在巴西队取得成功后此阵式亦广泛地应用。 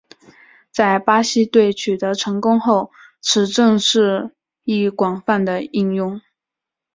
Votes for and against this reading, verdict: 2, 0, accepted